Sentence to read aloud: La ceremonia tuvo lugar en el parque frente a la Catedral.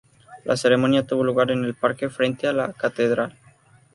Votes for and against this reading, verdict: 2, 0, accepted